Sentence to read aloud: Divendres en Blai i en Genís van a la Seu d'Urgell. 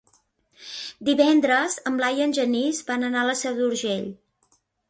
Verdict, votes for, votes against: rejected, 0, 2